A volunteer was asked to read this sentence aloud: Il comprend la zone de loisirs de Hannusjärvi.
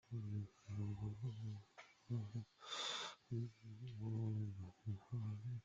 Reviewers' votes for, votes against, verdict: 1, 2, rejected